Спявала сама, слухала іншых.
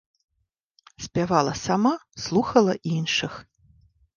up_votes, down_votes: 1, 2